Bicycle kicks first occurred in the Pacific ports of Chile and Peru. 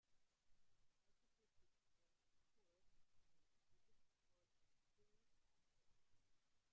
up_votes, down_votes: 0, 2